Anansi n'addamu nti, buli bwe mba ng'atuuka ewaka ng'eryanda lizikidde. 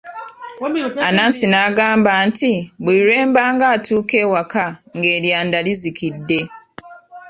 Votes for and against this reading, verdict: 0, 2, rejected